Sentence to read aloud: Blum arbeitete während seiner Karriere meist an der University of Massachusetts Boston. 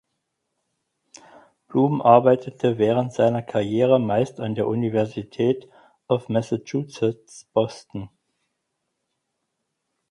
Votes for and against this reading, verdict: 0, 4, rejected